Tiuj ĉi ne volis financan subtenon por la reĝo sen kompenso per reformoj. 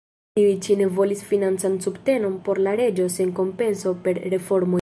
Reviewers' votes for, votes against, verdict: 0, 2, rejected